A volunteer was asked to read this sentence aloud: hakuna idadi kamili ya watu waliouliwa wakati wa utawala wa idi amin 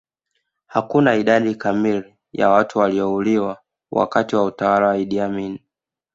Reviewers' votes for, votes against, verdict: 3, 0, accepted